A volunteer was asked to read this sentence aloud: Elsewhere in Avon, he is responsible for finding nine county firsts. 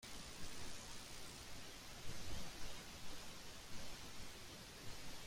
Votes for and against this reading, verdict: 0, 2, rejected